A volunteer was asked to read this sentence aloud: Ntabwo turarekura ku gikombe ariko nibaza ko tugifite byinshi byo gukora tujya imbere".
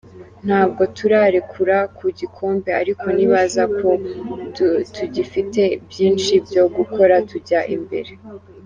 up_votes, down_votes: 0, 3